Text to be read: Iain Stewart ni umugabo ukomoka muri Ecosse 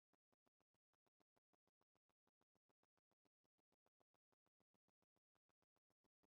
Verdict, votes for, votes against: rejected, 0, 2